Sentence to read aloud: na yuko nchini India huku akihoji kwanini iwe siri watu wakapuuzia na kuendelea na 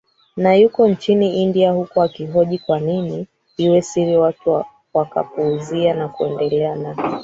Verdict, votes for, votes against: rejected, 0, 2